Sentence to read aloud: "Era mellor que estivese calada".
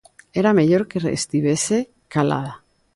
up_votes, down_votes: 1, 2